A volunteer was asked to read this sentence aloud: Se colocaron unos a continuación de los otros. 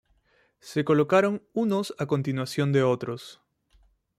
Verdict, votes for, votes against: accepted, 2, 0